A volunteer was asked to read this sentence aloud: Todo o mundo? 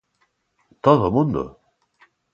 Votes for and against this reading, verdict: 2, 0, accepted